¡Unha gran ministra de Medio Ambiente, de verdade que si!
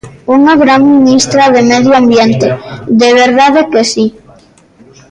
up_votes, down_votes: 1, 2